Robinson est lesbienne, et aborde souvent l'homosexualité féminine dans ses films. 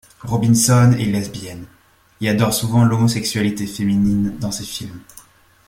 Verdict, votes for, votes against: rejected, 0, 2